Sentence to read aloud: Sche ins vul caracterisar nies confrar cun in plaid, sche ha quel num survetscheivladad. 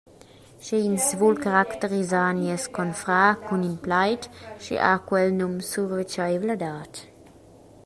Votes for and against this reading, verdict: 2, 0, accepted